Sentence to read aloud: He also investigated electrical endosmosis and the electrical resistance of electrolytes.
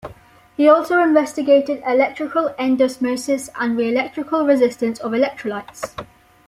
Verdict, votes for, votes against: rejected, 1, 2